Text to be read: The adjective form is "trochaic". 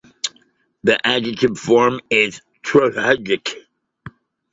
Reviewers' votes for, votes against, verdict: 1, 2, rejected